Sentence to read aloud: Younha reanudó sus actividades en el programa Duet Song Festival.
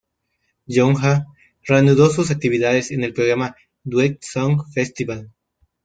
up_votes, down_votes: 0, 2